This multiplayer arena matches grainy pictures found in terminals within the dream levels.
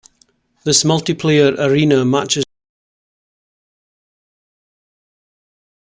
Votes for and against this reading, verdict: 0, 2, rejected